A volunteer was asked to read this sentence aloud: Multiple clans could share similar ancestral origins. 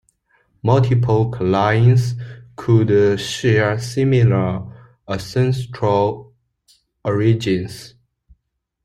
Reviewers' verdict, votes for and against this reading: rejected, 0, 2